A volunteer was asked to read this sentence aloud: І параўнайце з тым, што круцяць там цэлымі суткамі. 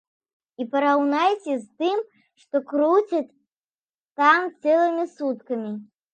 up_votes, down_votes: 2, 0